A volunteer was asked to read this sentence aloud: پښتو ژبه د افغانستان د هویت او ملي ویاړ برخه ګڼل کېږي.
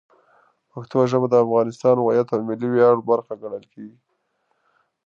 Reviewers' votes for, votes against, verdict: 1, 2, rejected